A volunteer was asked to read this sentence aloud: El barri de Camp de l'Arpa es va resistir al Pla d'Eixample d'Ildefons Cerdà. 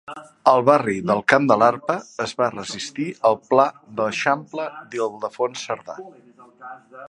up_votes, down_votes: 1, 2